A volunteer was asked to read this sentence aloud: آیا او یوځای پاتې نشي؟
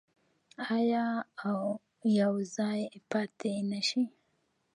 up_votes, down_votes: 1, 2